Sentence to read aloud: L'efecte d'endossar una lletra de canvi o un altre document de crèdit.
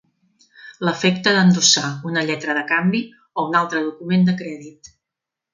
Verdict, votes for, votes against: accepted, 3, 0